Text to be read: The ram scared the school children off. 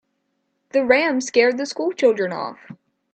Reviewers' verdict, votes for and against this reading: accepted, 2, 0